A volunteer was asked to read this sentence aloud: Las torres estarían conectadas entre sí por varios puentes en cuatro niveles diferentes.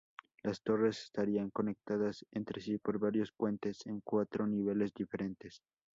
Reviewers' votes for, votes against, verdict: 2, 0, accepted